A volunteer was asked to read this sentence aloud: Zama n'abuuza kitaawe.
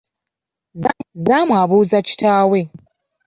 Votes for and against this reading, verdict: 1, 2, rejected